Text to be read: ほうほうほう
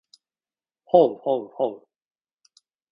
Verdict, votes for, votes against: accepted, 2, 0